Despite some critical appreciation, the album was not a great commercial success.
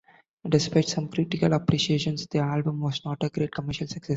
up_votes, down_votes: 1, 3